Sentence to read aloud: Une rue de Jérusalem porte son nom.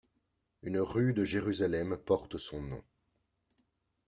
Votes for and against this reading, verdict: 1, 2, rejected